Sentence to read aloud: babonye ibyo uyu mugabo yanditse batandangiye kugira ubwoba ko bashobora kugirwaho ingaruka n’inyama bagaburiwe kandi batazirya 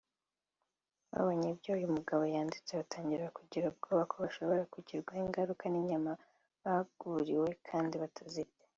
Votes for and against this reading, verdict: 1, 2, rejected